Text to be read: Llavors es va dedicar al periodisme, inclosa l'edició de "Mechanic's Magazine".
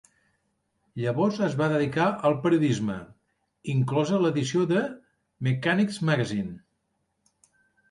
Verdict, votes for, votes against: accepted, 2, 0